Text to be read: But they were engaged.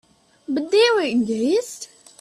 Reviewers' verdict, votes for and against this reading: rejected, 3, 4